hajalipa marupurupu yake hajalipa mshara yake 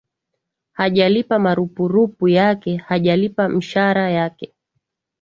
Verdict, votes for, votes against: accepted, 34, 1